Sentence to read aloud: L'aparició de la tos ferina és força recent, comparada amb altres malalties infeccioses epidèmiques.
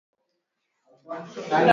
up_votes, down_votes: 0, 2